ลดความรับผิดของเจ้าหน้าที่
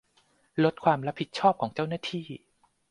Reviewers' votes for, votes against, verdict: 0, 2, rejected